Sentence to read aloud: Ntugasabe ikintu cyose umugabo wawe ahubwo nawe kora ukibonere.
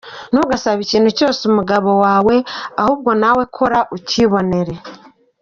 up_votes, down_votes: 2, 0